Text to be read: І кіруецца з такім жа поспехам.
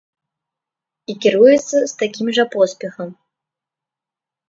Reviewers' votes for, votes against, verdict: 2, 0, accepted